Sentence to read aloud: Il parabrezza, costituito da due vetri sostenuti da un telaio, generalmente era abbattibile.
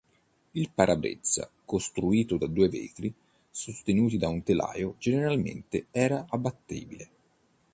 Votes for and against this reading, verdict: 1, 2, rejected